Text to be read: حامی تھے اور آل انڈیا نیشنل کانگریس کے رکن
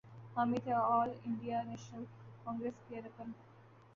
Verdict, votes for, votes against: rejected, 0, 3